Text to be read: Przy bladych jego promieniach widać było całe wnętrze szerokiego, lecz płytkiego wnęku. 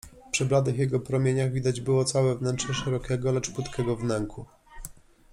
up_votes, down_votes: 2, 0